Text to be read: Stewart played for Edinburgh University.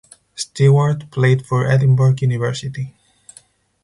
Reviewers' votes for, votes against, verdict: 4, 0, accepted